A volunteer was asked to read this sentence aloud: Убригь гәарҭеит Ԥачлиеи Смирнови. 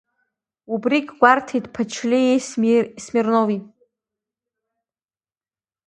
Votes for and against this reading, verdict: 0, 2, rejected